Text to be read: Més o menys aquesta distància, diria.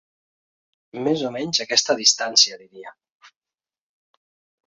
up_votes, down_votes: 4, 1